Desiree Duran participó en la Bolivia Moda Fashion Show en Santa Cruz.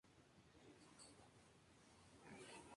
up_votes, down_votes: 2, 0